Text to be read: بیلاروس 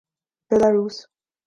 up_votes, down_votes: 2, 0